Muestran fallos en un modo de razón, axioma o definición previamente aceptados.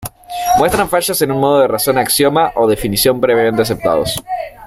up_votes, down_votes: 1, 2